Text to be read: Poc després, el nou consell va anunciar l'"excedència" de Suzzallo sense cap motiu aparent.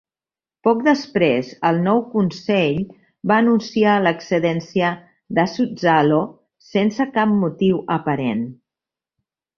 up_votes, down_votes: 2, 0